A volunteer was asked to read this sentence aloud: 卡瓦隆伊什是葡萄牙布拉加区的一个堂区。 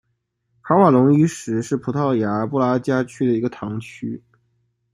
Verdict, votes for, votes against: accepted, 2, 0